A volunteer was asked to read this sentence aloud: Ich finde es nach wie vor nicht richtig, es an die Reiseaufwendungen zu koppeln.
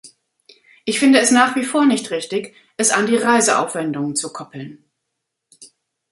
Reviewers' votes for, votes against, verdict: 2, 0, accepted